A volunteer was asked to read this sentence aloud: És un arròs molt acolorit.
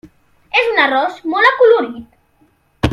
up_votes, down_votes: 2, 0